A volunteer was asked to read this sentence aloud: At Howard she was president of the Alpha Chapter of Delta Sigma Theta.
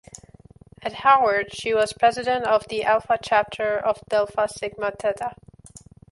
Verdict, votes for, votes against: rejected, 0, 2